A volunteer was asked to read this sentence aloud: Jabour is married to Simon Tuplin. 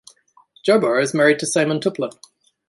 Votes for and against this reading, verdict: 0, 2, rejected